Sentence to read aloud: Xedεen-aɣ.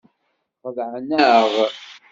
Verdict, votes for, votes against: rejected, 1, 2